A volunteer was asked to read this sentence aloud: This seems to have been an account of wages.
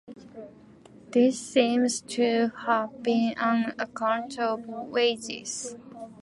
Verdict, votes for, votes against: accepted, 2, 1